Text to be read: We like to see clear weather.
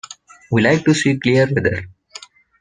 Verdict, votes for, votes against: rejected, 0, 2